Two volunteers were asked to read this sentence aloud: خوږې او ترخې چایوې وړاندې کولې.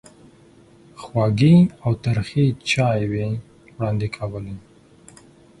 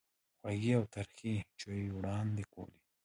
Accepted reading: first